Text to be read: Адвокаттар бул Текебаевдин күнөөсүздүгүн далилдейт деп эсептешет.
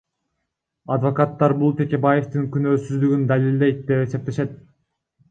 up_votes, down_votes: 0, 2